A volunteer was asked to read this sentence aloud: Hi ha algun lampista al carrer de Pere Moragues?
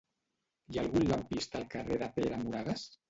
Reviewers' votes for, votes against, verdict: 1, 2, rejected